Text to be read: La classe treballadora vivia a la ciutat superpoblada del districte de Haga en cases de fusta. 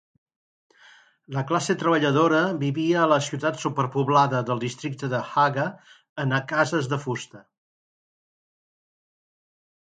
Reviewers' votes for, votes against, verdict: 0, 2, rejected